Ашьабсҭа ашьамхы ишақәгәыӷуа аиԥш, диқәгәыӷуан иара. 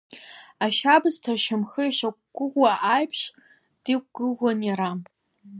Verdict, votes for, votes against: rejected, 1, 2